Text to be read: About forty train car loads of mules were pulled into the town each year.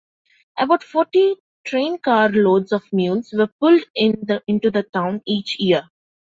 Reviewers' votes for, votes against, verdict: 2, 1, accepted